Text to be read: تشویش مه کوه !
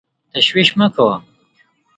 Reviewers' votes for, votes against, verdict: 2, 0, accepted